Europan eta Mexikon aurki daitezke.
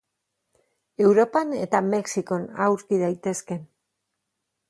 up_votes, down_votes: 2, 2